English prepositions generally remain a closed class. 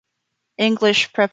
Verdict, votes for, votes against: rejected, 0, 2